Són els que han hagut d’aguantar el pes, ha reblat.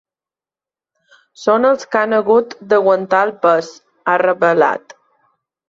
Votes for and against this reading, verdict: 1, 2, rejected